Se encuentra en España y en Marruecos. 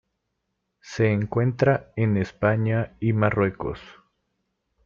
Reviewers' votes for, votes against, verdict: 0, 2, rejected